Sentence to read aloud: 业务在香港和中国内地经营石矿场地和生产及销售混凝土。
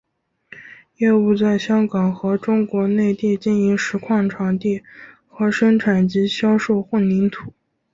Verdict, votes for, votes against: accepted, 3, 0